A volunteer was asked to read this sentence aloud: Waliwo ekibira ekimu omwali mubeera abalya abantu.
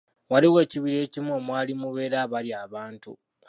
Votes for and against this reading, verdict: 2, 0, accepted